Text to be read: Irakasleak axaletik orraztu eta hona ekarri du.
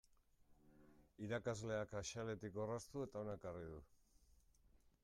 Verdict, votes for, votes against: accepted, 2, 0